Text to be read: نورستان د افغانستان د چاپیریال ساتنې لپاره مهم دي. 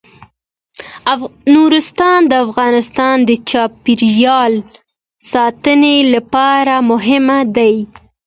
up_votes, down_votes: 2, 0